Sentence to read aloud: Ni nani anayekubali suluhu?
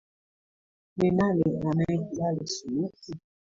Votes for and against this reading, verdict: 2, 0, accepted